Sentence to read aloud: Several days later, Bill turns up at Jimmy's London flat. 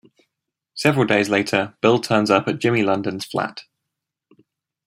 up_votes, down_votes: 2, 0